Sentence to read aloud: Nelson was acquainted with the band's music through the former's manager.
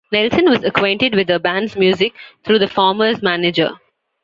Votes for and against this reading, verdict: 2, 0, accepted